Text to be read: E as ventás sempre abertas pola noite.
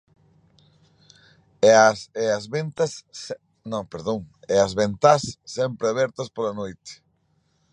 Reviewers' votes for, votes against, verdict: 0, 4, rejected